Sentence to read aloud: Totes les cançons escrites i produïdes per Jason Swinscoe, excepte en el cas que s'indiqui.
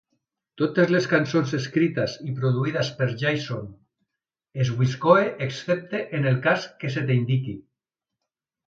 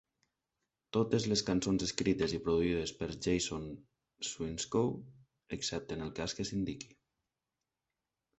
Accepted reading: second